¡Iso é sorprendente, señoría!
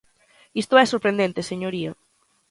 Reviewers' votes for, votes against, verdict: 1, 2, rejected